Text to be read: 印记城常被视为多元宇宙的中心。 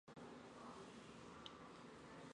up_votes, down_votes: 0, 2